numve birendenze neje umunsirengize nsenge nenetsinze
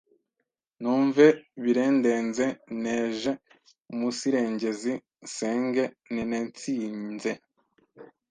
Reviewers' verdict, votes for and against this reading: rejected, 1, 2